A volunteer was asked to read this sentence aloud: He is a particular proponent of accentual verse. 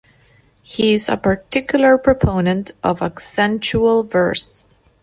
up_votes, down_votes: 2, 0